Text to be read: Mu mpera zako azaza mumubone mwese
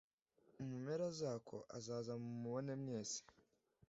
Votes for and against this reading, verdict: 2, 0, accepted